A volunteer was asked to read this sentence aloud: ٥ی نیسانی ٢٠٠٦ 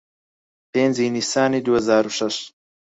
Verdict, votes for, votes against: rejected, 0, 2